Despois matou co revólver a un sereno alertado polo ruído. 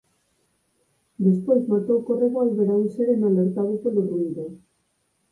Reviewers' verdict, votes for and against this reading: accepted, 4, 0